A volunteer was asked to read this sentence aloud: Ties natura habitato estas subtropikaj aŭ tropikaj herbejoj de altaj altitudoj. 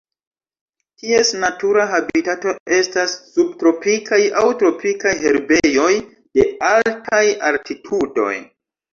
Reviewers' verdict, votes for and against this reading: rejected, 0, 2